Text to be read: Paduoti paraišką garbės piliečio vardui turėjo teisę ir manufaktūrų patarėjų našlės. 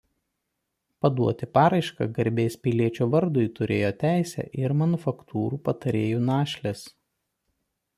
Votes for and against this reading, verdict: 2, 0, accepted